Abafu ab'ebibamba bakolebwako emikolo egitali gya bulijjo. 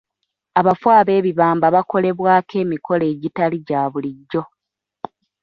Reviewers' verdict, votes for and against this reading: accepted, 2, 0